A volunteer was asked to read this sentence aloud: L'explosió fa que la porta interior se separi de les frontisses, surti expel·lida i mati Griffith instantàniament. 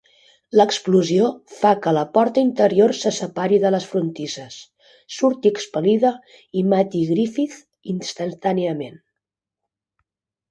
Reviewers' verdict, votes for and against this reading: accepted, 2, 0